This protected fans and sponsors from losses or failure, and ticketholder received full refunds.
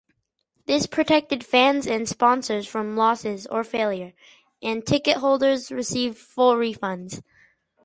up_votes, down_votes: 0, 4